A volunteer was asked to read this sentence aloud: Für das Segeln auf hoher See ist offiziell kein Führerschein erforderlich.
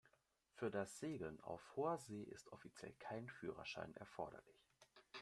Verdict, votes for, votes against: rejected, 1, 2